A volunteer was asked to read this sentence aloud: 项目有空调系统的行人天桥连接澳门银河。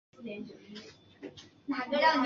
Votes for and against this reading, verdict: 1, 4, rejected